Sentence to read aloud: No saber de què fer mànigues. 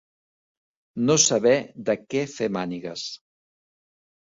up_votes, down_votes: 2, 0